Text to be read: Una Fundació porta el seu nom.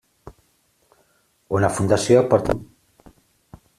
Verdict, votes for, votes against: rejected, 0, 2